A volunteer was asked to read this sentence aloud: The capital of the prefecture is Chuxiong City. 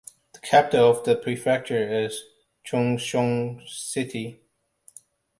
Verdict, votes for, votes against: accepted, 2, 0